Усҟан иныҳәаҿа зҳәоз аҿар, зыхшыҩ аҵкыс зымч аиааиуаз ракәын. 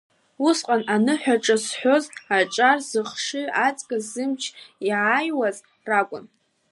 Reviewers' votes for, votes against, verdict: 1, 2, rejected